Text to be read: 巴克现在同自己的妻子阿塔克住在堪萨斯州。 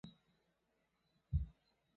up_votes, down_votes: 0, 2